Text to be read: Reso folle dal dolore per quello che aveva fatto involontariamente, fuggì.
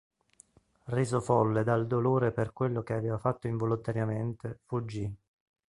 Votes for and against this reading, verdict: 2, 0, accepted